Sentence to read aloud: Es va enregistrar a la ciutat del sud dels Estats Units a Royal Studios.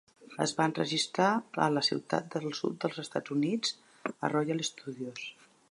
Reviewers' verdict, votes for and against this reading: accepted, 2, 0